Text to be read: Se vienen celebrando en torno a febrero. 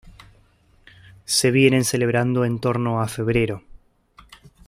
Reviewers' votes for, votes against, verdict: 2, 0, accepted